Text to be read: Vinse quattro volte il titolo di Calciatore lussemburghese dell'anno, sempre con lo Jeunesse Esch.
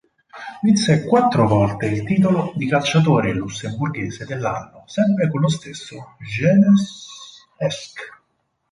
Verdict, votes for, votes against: rejected, 2, 4